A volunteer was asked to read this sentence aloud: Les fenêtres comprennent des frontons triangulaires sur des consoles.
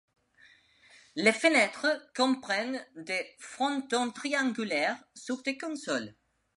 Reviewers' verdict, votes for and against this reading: accepted, 2, 0